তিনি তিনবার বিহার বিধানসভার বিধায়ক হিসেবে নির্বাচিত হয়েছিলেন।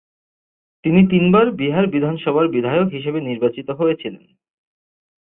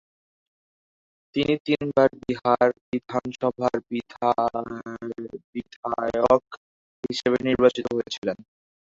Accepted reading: first